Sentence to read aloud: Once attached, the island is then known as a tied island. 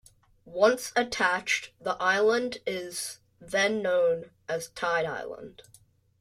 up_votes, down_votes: 0, 2